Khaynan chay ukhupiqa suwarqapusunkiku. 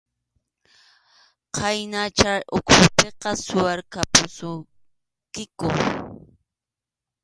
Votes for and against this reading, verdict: 2, 0, accepted